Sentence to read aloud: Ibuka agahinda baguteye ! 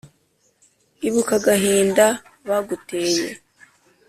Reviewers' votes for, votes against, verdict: 2, 0, accepted